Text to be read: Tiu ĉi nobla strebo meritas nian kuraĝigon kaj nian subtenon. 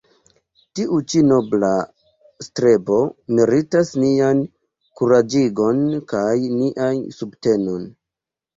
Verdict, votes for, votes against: rejected, 0, 2